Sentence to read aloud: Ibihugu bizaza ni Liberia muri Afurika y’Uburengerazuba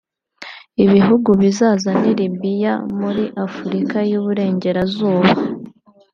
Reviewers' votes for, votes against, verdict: 0, 2, rejected